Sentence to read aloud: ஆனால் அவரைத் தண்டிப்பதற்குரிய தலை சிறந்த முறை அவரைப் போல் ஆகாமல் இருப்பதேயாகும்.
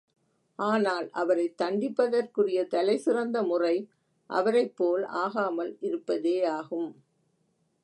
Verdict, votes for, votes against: accepted, 2, 0